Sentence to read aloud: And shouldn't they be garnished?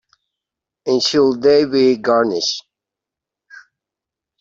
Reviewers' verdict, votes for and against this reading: rejected, 1, 3